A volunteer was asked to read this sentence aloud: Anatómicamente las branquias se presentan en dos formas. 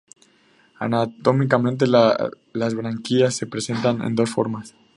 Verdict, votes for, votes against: rejected, 0, 2